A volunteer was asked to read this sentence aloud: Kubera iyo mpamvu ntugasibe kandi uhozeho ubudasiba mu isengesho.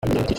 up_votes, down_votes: 0, 2